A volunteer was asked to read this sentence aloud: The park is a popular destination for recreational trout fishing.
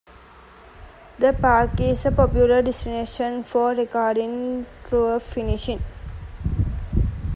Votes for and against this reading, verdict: 0, 2, rejected